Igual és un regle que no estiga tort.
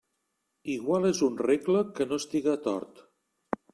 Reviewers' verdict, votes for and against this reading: accepted, 3, 0